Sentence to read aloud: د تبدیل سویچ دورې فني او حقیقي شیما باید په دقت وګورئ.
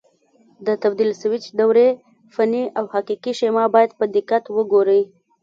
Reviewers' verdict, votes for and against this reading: accepted, 2, 0